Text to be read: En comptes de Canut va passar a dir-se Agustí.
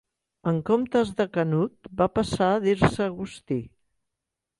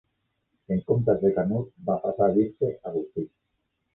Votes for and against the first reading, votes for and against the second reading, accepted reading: 2, 0, 0, 2, first